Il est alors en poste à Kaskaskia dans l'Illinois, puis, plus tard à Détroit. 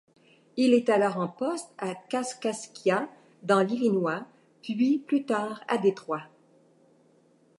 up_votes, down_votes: 2, 0